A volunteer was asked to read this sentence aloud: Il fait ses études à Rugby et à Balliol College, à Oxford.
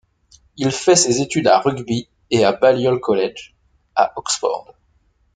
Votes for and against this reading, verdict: 2, 0, accepted